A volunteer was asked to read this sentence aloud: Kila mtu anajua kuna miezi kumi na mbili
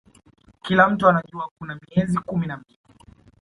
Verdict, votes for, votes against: accepted, 2, 0